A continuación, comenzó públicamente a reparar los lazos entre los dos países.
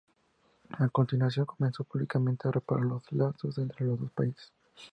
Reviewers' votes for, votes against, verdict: 2, 0, accepted